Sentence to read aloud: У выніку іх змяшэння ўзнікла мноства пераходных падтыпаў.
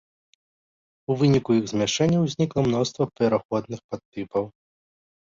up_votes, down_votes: 2, 0